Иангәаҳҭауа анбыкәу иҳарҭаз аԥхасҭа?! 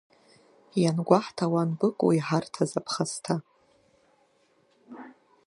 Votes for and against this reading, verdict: 7, 1, accepted